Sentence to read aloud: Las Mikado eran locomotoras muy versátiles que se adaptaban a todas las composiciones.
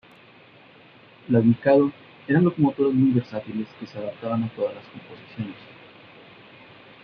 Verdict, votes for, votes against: rejected, 0, 2